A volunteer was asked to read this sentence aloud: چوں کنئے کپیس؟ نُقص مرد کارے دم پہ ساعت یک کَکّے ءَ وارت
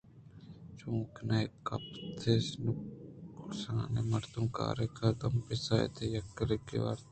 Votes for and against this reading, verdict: 2, 1, accepted